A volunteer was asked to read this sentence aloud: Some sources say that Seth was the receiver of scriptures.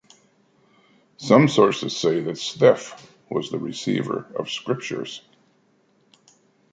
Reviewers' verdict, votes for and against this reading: accepted, 2, 0